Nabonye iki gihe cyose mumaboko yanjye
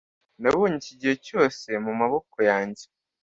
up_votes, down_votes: 2, 0